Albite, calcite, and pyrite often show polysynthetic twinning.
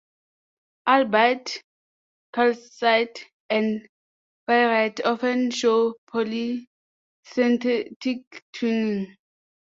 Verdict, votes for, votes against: rejected, 0, 2